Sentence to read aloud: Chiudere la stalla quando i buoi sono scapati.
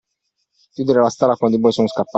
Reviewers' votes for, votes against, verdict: 1, 2, rejected